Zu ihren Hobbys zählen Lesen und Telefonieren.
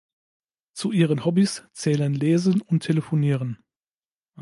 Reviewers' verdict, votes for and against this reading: accepted, 2, 0